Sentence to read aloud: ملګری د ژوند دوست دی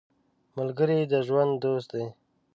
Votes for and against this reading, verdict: 2, 0, accepted